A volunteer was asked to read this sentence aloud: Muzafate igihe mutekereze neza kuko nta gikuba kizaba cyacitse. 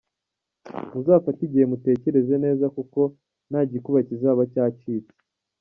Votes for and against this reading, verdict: 1, 2, rejected